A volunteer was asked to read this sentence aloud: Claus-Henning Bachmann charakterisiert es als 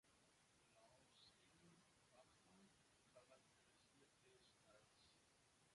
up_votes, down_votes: 0, 2